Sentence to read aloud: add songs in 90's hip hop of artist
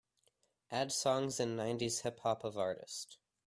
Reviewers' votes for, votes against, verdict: 0, 2, rejected